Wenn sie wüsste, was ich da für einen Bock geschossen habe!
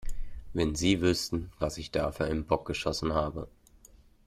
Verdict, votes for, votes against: rejected, 1, 2